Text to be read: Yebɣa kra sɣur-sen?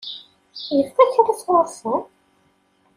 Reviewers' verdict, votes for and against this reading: rejected, 1, 2